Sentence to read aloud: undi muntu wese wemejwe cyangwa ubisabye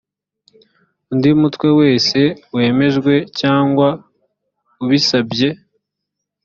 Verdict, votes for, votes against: rejected, 1, 2